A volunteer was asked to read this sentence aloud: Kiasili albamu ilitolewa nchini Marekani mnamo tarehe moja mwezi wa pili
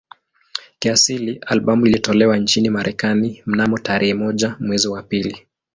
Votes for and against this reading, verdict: 10, 2, accepted